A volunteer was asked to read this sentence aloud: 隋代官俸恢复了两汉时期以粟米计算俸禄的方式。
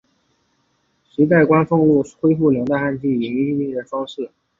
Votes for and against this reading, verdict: 1, 4, rejected